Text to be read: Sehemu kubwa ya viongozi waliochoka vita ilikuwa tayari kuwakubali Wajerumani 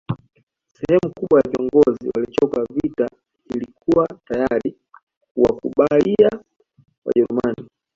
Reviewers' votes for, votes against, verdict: 0, 2, rejected